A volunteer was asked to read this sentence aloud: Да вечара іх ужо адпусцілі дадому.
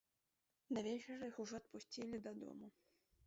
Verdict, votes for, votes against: rejected, 0, 2